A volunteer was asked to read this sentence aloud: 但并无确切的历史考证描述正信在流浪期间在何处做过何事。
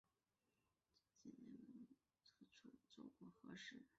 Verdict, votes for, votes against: rejected, 1, 2